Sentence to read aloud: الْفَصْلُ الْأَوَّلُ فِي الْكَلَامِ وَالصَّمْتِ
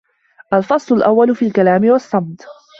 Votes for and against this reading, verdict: 1, 2, rejected